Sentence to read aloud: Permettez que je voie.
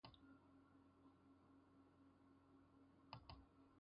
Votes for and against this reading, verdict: 0, 2, rejected